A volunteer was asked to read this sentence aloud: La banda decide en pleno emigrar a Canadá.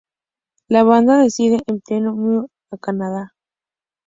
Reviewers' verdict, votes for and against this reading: rejected, 0, 2